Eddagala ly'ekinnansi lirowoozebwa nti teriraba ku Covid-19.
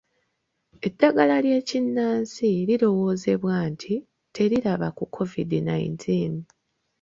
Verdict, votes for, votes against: rejected, 0, 2